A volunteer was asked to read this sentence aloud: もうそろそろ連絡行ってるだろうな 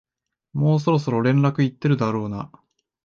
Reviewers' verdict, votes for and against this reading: accepted, 2, 0